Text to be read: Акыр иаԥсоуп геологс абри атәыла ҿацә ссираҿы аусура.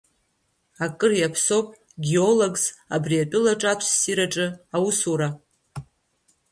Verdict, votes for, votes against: rejected, 1, 2